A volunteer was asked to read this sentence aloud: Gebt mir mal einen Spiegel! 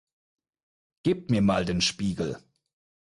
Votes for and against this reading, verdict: 0, 4, rejected